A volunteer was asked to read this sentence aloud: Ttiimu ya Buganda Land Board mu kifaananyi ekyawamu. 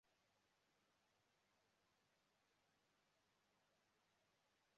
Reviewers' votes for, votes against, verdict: 0, 2, rejected